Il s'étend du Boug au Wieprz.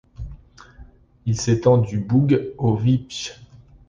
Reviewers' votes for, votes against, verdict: 2, 0, accepted